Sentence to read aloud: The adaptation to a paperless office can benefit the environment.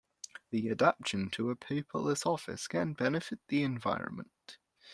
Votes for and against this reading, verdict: 2, 0, accepted